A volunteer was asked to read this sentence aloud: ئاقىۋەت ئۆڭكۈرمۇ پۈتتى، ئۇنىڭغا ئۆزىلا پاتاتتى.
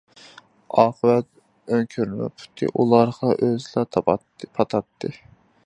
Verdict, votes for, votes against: rejected, 0, 2